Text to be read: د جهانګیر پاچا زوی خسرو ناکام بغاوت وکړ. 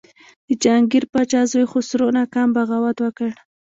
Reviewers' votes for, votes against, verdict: 0, 2, rejected